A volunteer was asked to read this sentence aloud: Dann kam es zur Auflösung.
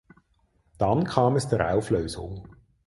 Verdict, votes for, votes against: rejected, 0, 4